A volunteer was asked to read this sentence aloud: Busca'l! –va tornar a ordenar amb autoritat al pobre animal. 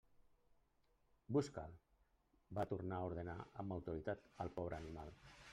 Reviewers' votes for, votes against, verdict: 2, 0, accepted